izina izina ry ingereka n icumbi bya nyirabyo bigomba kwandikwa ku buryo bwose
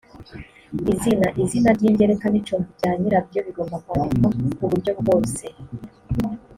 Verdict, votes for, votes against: accepted, 2, 0